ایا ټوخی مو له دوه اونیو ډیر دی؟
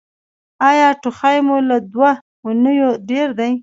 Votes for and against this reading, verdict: 2, 0, accepted